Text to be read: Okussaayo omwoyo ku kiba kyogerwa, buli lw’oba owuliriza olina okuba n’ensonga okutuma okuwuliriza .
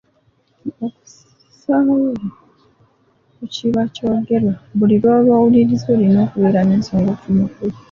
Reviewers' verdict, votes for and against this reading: rejected, 0, 3